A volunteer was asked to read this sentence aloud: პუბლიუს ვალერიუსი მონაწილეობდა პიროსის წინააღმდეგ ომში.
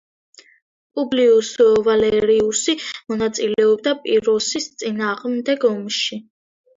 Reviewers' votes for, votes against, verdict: 2, 0, accepted